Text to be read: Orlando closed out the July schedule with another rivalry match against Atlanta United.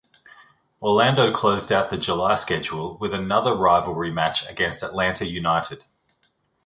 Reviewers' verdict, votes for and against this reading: accepted, 2, 0